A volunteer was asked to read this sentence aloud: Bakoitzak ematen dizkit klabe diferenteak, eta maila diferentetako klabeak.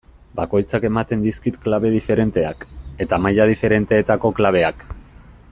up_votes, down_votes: 2, 0